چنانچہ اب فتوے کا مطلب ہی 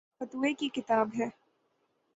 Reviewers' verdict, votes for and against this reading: rejected, 15, 15